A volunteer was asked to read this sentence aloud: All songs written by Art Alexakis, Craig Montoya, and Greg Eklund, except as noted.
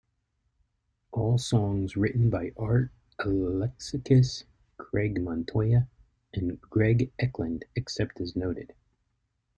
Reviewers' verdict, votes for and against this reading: accepted, 2, 0